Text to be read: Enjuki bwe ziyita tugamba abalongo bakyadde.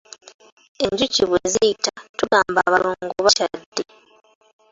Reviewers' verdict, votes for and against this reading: accepted, 2, 1